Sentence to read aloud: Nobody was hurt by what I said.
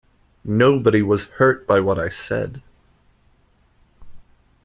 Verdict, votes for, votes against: accepted, 2, 0